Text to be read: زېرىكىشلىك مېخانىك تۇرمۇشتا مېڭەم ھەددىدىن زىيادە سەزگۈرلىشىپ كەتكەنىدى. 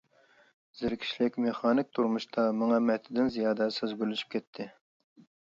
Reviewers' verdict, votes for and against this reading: rejected, 0, 2